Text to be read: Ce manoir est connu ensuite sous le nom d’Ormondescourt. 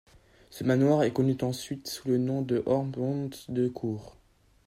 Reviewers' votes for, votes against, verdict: 1, 2, rejected